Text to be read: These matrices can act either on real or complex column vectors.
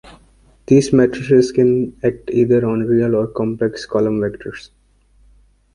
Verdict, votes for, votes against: accepted, 3, 0